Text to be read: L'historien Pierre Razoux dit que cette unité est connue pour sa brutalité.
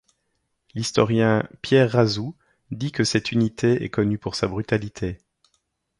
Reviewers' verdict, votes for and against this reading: accepted, 2, 0